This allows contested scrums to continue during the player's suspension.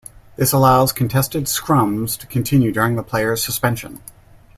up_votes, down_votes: 2, 0